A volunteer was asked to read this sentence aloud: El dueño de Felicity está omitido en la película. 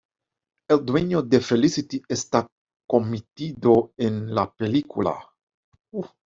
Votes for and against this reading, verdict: 1, 2, rejected